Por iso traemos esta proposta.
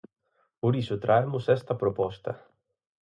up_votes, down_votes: 4, 0